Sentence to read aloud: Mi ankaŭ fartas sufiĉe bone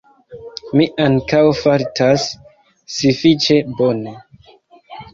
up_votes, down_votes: 1, 2